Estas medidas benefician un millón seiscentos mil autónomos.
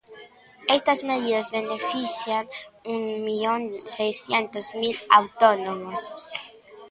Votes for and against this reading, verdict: 0, 2, rejected